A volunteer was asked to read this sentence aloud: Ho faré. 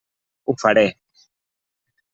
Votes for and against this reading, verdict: 3, 0, accepted